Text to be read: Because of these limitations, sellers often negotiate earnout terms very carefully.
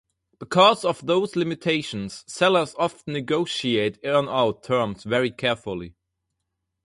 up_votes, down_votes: 2, 2